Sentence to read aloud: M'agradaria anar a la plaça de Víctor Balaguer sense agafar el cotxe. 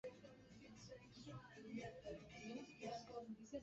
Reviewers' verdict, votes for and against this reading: rejected, 0, 3